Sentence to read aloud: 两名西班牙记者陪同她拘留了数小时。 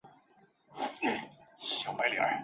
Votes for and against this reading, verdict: 2, 0, accepted